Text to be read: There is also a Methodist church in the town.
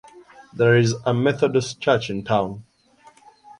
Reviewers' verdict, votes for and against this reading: rejected, 0, 2